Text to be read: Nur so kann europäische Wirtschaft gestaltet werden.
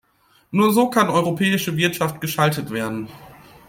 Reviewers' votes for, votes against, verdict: 1, 2, rejected